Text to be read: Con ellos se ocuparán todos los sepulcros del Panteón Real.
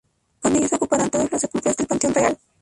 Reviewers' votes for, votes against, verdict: 0, 4, rejected